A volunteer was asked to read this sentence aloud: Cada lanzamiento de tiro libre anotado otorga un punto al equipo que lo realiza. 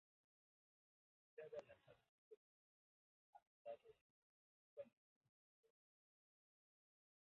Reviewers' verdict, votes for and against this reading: rejected, 0, 2